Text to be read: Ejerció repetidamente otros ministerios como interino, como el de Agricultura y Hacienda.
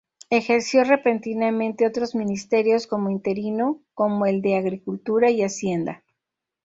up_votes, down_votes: 0, 2